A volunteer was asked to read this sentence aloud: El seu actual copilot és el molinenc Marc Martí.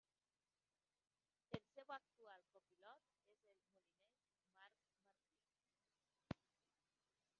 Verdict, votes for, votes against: rejected, 0, 2